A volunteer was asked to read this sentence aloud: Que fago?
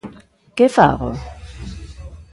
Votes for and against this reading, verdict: 1, 2, rejected